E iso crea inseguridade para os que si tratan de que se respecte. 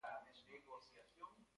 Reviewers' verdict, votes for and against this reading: rejected, 0, 2